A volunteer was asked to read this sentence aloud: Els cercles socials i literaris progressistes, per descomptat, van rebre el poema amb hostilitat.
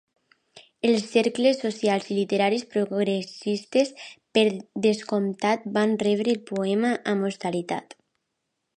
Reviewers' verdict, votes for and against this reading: rejected, 1, 2